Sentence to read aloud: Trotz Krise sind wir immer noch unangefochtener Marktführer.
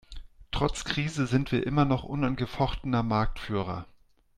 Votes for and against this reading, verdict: 2, 0, accepted